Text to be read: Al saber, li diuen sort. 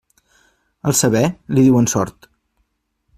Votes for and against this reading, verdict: 3, 0, accepted